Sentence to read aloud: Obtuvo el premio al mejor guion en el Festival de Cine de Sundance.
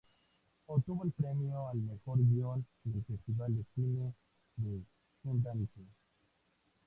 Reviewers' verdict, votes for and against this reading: rejected, 2, 2